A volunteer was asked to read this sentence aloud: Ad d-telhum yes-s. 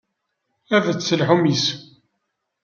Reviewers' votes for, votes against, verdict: 0, 2, rejected